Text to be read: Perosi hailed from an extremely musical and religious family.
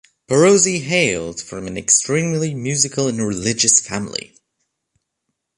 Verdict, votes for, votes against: accepted, 3, 0